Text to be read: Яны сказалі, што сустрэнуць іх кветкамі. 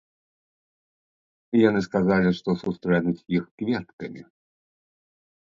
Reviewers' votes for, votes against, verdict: 0, 2, rejected